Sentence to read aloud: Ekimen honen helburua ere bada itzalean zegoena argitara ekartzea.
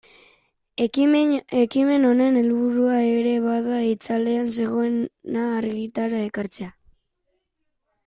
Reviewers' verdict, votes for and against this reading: rejected, 0, 2